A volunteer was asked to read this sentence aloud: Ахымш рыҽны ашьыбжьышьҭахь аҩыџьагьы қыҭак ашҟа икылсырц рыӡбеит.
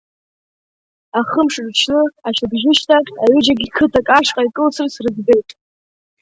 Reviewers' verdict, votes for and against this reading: accepted, 2, 0